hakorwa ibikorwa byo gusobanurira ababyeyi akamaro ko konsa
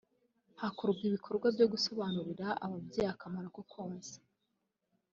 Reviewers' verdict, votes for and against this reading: accepted, 2, 0